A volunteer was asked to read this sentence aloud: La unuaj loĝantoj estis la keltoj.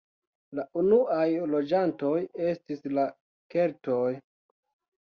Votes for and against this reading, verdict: 3, 0, accepted